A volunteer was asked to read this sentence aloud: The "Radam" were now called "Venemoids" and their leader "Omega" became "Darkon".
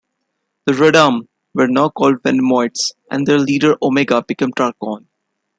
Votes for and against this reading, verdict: 1, 2, rejected